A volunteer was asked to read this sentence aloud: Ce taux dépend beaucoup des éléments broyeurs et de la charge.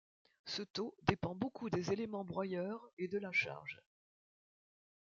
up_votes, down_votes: 2, 0